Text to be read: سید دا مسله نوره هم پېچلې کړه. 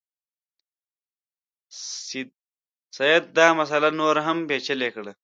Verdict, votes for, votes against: accepted, 2, 1